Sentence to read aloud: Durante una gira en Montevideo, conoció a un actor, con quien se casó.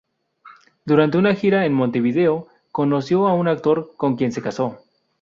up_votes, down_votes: 2, 0